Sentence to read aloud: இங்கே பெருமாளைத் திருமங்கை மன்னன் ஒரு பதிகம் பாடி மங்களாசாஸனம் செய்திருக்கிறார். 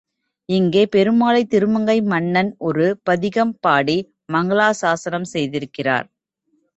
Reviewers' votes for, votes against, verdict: 2, 1, accepted